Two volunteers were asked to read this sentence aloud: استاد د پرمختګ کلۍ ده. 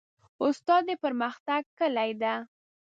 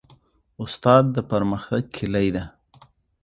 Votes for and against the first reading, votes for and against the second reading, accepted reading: 0, 2, 2, 0, second